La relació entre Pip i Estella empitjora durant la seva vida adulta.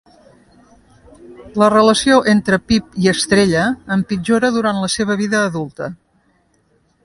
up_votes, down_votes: 2, 0